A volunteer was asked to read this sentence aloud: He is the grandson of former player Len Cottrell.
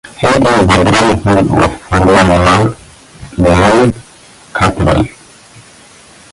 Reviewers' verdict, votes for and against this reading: rejected, 0, 2